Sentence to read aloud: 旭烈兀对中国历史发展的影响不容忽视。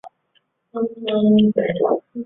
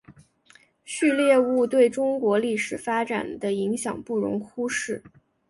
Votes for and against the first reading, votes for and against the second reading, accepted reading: 0, 3, 2, 0, second